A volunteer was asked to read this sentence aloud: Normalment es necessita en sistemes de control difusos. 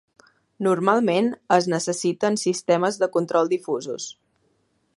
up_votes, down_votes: 1, 2